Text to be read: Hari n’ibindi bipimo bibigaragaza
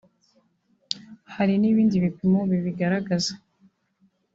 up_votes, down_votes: 1, 2